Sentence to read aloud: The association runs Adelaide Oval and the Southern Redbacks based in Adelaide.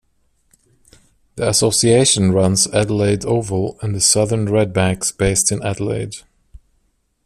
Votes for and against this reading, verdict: 2, 0, accepted